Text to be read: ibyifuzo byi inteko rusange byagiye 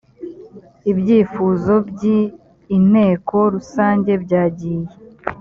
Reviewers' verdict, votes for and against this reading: accepted, 2, 0